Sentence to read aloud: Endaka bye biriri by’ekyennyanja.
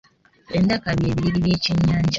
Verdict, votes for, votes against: accepted, 2, 0